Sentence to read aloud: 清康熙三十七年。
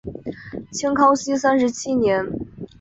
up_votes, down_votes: 2, 0